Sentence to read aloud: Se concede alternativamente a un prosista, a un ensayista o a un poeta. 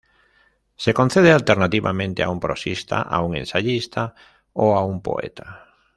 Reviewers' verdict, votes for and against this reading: accepted, 2, 0